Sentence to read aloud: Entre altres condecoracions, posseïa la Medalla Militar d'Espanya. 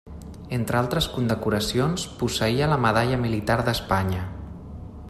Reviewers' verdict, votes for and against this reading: accepted, 3, 1